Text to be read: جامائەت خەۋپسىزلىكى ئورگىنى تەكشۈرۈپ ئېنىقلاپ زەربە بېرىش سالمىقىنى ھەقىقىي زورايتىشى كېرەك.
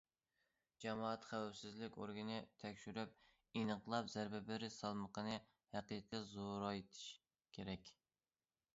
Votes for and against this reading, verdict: 0, 2, rejected